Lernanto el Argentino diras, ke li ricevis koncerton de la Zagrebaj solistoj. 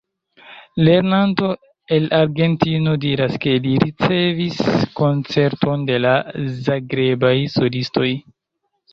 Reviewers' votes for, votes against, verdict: 2, 0, accepted